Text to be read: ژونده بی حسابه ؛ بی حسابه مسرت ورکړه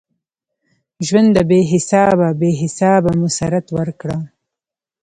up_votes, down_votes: 0, 2